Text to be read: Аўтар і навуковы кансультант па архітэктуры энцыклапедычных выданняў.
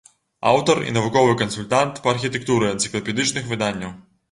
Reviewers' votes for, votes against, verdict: 2, 0, accepted